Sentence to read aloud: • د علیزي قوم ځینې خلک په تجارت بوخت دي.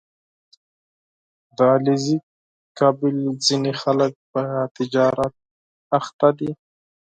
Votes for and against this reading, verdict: 4, 2, accepted